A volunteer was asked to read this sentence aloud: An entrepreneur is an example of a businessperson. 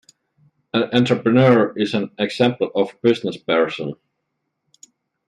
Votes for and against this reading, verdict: 2, 0, accepted